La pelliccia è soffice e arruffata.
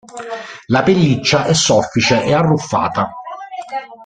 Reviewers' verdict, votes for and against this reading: rejected, 1, 2